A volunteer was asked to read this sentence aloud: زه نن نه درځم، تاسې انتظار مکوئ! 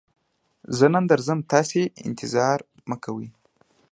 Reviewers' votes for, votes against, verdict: 2, 0, accepted